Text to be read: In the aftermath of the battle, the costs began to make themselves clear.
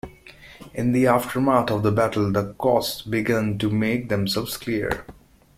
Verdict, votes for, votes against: accepted, 2, 0